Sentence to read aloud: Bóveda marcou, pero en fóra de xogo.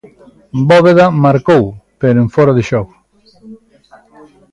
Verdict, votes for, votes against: accepted, 2, 0